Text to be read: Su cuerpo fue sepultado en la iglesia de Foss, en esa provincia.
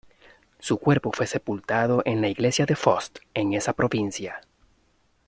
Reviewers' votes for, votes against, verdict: 1, 2, rejected